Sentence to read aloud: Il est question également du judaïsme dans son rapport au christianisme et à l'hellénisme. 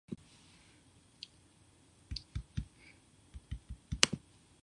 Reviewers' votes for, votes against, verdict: 0, 2, rejected